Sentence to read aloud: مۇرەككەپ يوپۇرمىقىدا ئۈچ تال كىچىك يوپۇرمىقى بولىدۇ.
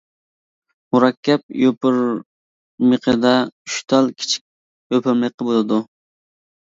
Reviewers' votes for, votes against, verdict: 1, 2, rejected